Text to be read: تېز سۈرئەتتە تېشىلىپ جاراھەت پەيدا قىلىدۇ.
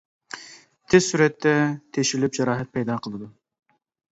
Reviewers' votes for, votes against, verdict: 2, 0, accepted